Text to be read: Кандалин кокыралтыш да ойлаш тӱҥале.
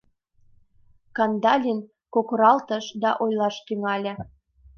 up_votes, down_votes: 2, 0